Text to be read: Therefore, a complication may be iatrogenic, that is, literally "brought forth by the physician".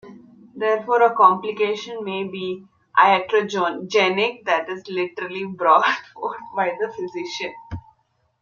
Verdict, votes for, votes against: rejected, 1, 2